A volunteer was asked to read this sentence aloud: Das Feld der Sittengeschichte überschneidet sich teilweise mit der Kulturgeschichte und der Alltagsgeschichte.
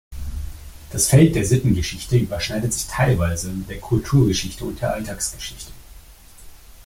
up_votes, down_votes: 2, 0